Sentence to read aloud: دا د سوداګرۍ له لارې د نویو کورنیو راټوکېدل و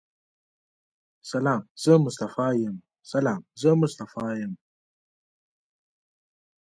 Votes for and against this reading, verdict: 1, 2, rejected